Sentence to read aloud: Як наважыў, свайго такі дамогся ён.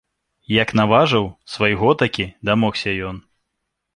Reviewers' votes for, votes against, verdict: 2, 0, accepted